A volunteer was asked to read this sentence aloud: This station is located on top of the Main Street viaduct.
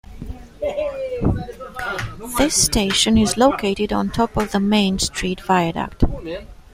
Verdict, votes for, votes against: accepted, 2, 0